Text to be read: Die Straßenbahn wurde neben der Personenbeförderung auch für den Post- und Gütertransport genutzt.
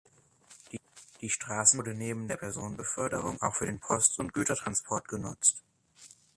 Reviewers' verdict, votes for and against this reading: accepted, 3, 1